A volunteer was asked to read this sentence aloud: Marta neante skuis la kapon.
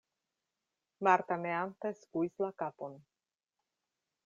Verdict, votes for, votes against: accepted, 2, 0